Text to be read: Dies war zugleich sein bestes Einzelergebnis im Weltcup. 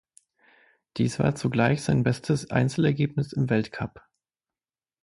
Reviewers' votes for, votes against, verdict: 6, 0, accepted